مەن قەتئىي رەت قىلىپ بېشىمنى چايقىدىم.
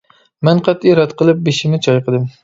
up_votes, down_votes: 2, 0